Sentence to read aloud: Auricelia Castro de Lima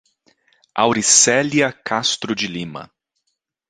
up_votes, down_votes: 2, 0